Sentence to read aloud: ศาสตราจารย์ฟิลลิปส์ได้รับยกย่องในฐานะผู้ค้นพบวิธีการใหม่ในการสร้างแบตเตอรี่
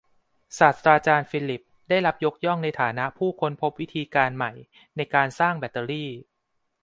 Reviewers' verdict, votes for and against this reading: accepted, 2, 0